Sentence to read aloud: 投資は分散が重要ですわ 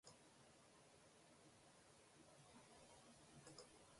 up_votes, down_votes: 0, 2